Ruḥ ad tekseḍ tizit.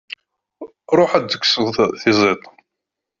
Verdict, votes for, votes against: rejected, 0, 2